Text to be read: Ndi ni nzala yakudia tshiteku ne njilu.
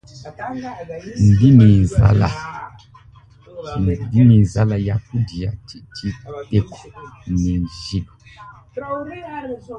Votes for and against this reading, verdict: 1, 3, rejected